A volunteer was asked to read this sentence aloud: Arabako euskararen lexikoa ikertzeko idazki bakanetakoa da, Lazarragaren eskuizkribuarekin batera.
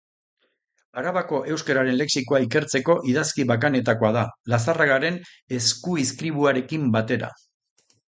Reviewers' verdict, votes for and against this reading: rejected, 1, 2